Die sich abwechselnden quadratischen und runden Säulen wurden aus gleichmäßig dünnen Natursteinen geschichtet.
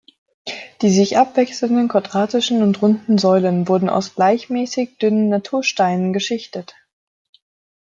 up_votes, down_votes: 2, 0